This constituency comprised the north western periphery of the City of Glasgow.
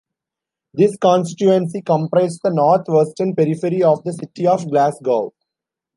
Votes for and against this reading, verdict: 2, 1, accepted